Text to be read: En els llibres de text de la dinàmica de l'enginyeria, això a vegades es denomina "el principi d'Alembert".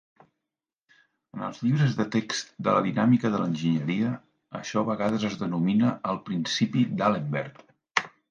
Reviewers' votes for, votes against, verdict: 0, 2, rejected